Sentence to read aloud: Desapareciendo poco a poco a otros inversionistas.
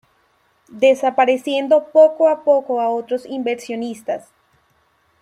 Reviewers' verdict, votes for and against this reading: accepted, 2, 0